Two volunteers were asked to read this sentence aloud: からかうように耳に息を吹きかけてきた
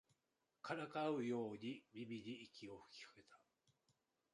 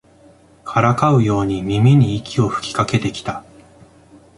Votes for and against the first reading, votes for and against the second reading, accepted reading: 1, 2, 2, 0, second